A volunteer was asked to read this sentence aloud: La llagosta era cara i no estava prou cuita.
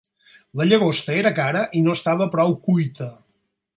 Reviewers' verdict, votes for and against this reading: accepted, 6, 0